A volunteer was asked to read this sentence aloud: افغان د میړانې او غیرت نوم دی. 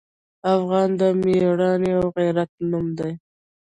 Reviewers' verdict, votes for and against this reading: rejected, 1, 2